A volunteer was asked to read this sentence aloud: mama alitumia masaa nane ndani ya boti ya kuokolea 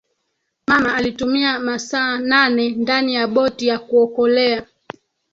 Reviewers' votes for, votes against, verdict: 2, 3, rejected